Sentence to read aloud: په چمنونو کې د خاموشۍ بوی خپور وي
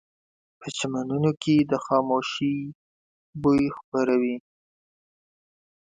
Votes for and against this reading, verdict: 1, 2, rejected